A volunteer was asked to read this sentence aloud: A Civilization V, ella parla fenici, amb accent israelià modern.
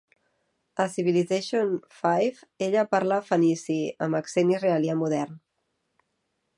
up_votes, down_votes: 2, 1